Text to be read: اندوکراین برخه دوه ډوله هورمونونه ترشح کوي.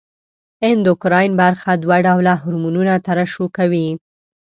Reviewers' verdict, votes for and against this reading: accepted, 2, 0